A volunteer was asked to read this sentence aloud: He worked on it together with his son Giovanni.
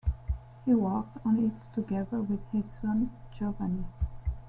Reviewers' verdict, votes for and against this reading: accepted, 2, 0